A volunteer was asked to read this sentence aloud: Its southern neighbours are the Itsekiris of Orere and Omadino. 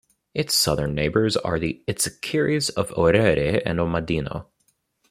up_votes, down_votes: 2, 0